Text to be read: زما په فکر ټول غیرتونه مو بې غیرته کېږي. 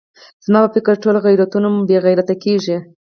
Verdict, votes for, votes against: accepted, 4, 0